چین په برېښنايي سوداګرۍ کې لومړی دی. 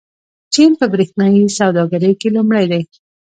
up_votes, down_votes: 3, 1